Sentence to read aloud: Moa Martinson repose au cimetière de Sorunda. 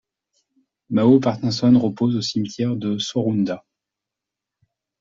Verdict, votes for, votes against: rejected, 1, 2